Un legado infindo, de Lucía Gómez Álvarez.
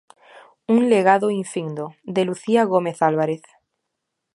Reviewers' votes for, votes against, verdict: 2, 0, accepted